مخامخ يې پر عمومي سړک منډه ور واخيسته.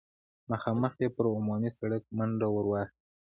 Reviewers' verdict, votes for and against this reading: accepted, 2, 0